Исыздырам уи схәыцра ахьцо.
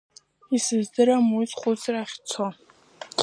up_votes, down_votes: 1, 2